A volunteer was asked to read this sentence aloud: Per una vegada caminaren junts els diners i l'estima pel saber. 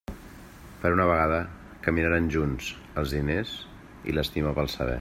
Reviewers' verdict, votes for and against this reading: accepted, 2, 1